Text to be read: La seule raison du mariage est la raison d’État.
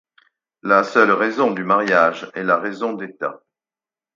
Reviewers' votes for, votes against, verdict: 4, 0, accepted